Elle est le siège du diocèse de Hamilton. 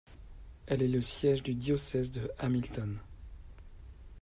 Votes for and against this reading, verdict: 2, 0, accepted